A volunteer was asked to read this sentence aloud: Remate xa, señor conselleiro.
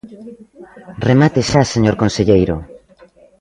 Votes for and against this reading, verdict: 3, 0, accepted